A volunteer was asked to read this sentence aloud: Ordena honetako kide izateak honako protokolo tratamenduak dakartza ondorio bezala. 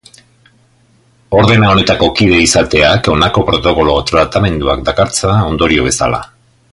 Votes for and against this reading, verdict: 3, 0, accepted